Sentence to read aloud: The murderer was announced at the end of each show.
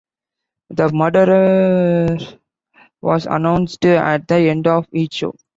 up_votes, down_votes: 1, 2